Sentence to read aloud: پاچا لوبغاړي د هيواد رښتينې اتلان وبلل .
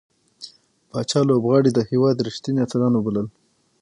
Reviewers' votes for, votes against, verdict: 6, 3, accepted